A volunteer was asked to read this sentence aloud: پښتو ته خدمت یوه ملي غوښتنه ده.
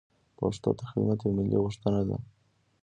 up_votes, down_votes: 2, 0